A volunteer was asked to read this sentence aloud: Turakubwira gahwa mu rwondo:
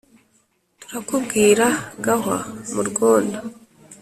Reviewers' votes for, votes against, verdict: 2, 0, accepted